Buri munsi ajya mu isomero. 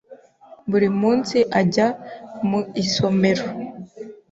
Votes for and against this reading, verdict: 2, 0, accepted